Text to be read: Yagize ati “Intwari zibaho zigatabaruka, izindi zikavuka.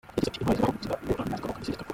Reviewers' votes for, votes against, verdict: 0, 2, rejected